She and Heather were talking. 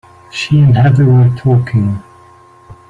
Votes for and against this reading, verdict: 2, 1, accepted